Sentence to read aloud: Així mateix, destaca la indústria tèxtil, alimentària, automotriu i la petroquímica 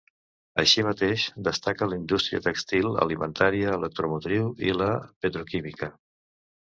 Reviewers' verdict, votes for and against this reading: rejected, 0, 2